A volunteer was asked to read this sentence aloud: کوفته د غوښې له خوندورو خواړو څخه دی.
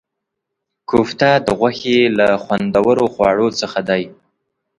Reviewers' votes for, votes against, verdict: 2, 0, accepted